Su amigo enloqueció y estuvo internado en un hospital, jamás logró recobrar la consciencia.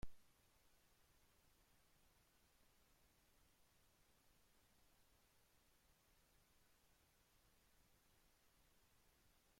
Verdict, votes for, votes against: rejected, 0, 2